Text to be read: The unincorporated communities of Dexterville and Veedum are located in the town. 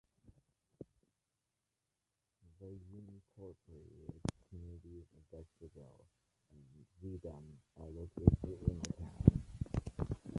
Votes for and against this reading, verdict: 0, 2, rejected